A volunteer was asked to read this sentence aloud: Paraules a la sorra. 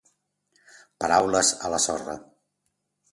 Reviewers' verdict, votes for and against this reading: accepted, 2, 0